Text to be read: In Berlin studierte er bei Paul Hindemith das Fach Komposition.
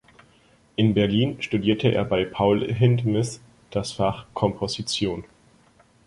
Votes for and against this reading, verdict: 2, 2, rejected